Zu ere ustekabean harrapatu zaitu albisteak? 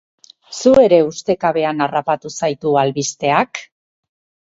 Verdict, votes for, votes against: accepted, 6, 0